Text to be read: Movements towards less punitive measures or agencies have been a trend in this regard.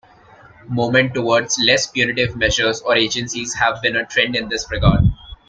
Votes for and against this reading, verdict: 2, 0, accepted